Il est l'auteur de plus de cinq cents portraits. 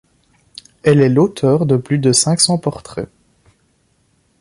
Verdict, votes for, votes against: rejected, 0, 2